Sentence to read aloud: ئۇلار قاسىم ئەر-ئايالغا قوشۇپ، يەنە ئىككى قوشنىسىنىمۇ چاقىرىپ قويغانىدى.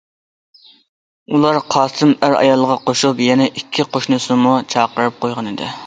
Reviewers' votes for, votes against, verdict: 2, 0, accepted